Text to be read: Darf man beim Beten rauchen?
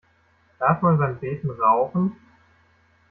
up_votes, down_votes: 2, 0